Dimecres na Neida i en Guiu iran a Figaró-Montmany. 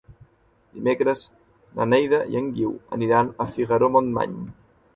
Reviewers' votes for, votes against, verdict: 1, 2, rejected